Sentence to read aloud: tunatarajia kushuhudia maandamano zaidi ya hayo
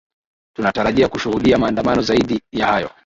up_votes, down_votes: 1, 2